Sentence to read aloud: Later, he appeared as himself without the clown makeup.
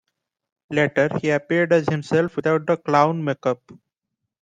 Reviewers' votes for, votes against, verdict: 2, 0, accepted